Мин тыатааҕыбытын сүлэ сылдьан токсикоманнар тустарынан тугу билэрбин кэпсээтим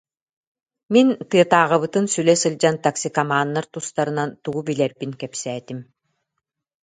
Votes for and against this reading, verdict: 2, 0, accepted